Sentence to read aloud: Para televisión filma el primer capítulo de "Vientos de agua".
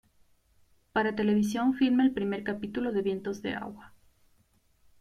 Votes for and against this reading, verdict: 2, 0, accepted